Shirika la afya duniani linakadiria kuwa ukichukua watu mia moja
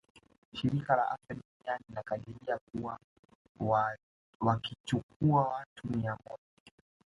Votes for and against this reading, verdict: 2, 1, accepted